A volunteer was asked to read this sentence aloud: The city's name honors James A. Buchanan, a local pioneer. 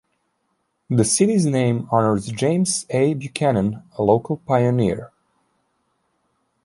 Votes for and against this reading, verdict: 3, 0, accepted